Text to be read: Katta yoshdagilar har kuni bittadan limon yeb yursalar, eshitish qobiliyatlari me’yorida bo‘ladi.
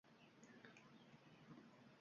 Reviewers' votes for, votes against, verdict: 0, 2, rejected